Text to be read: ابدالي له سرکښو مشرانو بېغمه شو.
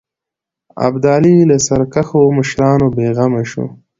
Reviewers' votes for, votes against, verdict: 2, 0, accepted